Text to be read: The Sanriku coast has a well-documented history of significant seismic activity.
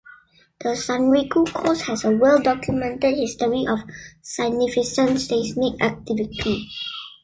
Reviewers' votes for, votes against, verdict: 1, 2, rejected